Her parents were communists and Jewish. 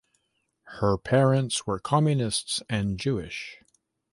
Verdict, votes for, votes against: accepted, 2, 0